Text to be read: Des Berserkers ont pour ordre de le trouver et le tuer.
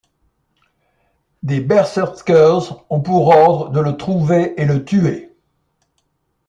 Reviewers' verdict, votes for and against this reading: accepted, 2, 1